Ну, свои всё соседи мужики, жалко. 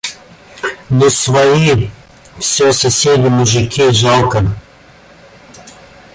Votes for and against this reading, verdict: 0, 2, rejected